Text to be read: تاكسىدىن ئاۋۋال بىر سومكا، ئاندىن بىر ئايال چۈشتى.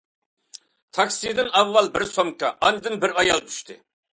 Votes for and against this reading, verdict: 2, 0, accepted